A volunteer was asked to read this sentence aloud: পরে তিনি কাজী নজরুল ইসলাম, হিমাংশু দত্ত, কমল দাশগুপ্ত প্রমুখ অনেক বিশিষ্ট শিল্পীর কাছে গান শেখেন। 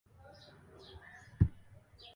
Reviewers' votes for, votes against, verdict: 0, 2, rejected